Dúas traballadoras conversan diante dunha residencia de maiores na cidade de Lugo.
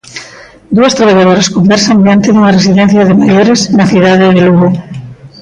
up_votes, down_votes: 1, 2